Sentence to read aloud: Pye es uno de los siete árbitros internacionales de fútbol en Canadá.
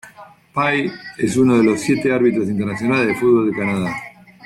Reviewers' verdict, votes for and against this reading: accepted, 2, 0